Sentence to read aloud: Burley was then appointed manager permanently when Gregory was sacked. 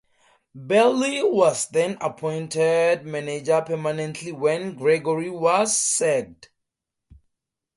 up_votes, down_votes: 4, 0